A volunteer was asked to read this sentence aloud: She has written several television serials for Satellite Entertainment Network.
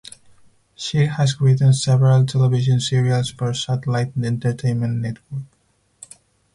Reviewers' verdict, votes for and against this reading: rejected, 0, 2